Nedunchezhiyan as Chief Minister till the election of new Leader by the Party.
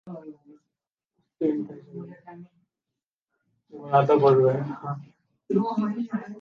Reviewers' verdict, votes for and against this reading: rejected, 0, 2